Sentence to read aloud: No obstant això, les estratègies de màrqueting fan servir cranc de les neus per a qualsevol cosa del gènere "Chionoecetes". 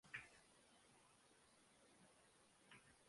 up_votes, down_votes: 0, 2